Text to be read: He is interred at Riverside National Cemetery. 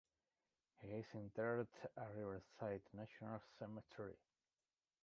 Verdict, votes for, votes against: rejected, 1, 2